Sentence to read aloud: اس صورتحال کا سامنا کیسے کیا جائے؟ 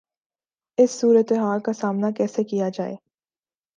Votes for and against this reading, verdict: 2, 0, accepted